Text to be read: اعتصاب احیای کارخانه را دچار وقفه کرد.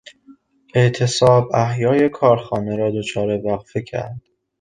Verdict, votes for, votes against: rejected, 0, 2